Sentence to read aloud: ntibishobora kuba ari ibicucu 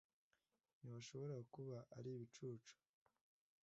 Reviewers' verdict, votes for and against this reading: accepted, 2, 0